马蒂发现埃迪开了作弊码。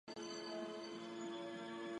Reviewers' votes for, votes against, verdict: 3, 5, rejected